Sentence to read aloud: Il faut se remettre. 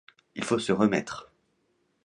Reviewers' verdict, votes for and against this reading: accepted, 2, 0